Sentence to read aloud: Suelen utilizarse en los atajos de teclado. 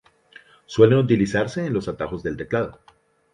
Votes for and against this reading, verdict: 0, 2, rejected